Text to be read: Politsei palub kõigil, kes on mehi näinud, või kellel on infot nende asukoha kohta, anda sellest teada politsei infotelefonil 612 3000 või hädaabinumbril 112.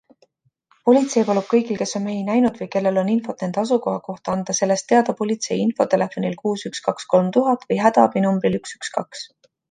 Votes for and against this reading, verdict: 0, 2, rejected